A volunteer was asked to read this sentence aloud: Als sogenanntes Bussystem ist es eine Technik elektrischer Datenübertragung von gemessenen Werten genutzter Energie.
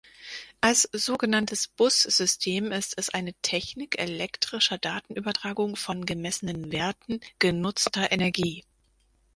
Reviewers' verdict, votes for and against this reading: rejected, 2, 4